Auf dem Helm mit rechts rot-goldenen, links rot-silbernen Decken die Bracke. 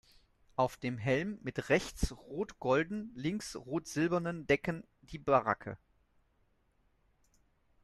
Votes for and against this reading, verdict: 0, 2, rejected